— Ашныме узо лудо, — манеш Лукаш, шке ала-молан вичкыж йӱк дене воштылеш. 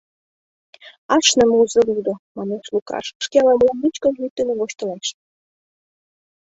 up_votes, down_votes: 2, 1